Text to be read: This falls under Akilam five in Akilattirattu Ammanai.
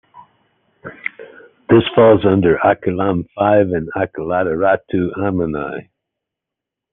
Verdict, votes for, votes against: accepted, 2, 0